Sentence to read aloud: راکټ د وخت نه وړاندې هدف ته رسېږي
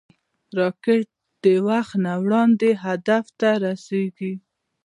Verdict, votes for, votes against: accepted, 2, 0